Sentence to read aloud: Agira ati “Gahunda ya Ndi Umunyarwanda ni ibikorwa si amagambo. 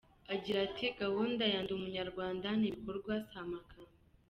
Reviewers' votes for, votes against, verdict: 0, 2, rejected